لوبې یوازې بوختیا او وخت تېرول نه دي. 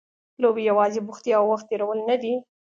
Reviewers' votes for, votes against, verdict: 2, 0, accepted